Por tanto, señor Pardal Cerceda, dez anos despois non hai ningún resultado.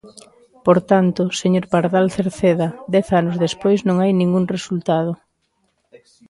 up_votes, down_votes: 4, 0